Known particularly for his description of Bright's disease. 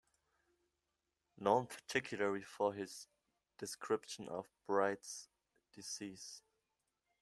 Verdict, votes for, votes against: rejected, 1, 2